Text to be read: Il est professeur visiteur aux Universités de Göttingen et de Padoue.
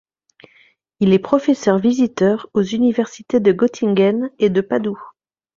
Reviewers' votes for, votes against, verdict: 2, 0, accepted